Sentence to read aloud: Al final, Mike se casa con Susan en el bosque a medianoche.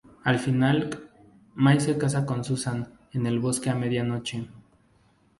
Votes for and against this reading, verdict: 0, 2, rejected